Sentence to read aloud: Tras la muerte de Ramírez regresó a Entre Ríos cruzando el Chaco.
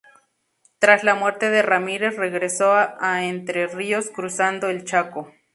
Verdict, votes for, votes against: accepted, 2, 0